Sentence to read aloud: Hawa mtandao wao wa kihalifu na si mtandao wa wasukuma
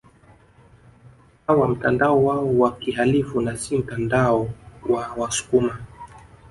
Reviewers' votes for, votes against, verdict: 2, 0, accepted